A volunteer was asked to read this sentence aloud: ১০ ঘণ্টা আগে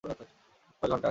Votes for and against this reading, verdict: 0, 2, rejected